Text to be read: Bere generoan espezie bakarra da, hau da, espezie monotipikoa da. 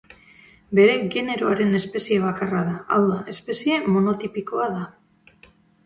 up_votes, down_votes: 2, 1